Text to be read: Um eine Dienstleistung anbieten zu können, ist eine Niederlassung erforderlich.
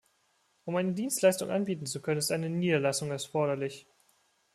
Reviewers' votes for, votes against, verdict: 1, 2, rejected